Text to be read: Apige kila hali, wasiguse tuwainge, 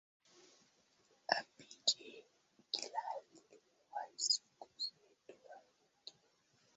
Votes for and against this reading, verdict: 0, 2, rejected